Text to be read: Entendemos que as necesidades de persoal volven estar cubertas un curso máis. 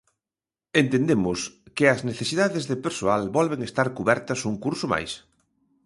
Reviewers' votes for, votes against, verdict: 2, 0, accepted